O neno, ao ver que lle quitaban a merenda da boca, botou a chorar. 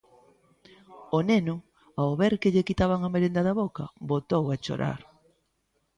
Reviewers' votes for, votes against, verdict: 2, 0, accepted